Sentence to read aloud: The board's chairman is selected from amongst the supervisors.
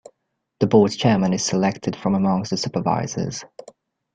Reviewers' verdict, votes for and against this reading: accepted, 2, 0